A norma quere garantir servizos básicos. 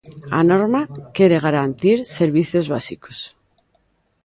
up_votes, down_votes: 3, 0